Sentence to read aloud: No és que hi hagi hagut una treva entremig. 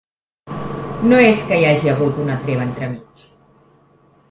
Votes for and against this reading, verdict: 0, 2, rejected